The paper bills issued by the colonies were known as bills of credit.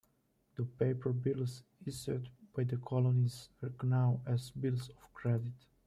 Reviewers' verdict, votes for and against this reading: rejected, 0, 2